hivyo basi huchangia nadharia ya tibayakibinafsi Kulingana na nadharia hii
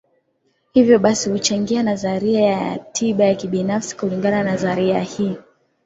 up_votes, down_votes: 6, 4